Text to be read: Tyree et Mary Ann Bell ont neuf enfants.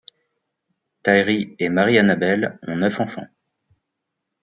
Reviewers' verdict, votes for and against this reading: accepted, 2, 0